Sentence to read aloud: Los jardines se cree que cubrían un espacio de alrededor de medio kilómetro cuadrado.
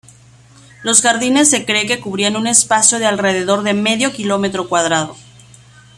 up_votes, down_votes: 2, 0